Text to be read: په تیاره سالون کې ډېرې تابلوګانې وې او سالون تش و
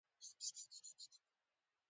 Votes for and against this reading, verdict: 0, 2, rejected